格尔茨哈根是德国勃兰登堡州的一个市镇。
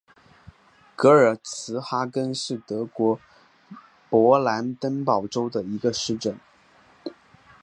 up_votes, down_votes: 6, 0